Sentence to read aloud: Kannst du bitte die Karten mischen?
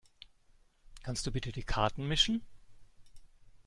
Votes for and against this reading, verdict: 2, 0, accepted